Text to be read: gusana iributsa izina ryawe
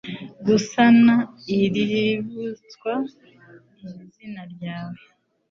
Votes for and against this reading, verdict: 1, 2, rejected